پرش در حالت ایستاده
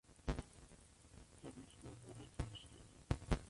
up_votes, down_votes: 0, 2